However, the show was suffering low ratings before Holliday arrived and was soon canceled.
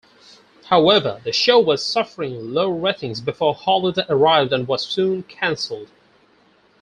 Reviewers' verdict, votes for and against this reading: rejected, 2, 4